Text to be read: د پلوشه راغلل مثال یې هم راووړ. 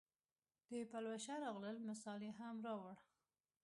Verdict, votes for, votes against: accepted, 2, 0